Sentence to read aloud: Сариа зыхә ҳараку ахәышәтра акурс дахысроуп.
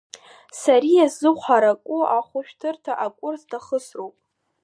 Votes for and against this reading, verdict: 1, 2, rejected